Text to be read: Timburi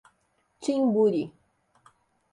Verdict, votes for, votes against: accepted, 2, 0